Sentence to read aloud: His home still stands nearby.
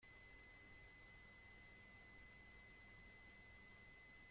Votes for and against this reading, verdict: 0, 2, rejected